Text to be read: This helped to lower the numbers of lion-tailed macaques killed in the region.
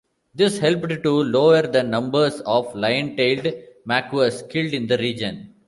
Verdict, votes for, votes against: rejected, 0, 2